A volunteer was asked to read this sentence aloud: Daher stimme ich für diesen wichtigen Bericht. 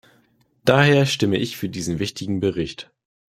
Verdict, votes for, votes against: accepted, 2, 0